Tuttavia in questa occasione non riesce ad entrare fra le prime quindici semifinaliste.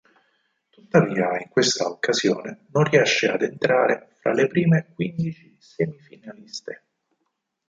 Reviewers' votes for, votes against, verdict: 2, 4, rejected